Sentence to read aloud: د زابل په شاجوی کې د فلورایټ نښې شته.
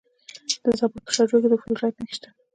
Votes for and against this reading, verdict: 1, 2, rejected